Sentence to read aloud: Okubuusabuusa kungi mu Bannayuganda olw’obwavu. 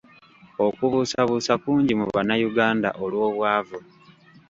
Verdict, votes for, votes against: accepted, 2, 0